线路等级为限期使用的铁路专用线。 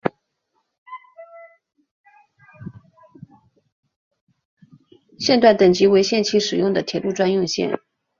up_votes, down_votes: 1, 2